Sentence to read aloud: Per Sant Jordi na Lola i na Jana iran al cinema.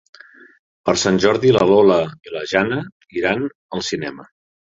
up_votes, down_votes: 1, 2